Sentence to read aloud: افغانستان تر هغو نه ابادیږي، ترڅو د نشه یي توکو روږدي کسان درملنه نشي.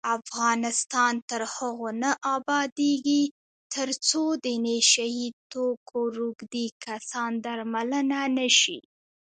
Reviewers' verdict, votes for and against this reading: accepted, 2, 0